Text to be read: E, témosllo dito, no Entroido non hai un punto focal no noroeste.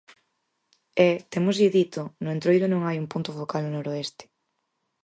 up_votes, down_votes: 0, 4